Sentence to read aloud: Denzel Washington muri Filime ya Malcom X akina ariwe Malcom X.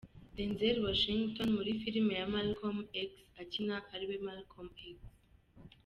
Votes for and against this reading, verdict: 2, 0, accepted